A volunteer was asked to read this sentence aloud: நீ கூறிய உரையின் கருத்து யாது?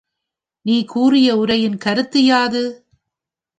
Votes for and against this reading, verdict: 2, 0, accepted